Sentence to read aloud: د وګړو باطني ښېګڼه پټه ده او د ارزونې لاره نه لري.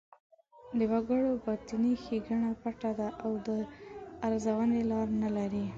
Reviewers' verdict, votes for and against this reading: accepted, 2, 0